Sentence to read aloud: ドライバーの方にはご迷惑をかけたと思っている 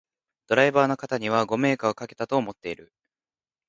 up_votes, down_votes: 2, 0